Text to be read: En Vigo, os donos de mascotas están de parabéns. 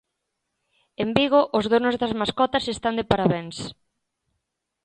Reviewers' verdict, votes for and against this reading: rejected, 0, 2